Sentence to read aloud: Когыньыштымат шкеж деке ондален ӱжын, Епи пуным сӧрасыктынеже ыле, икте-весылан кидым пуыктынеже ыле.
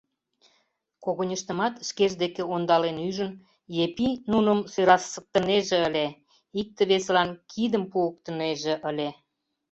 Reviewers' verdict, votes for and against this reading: rejected, 0, 2